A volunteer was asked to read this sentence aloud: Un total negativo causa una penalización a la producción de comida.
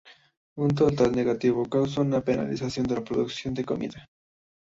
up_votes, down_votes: 1, 2